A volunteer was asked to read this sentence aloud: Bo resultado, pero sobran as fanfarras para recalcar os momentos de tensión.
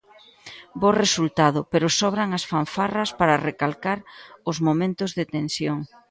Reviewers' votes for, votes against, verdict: 1, 2, rejected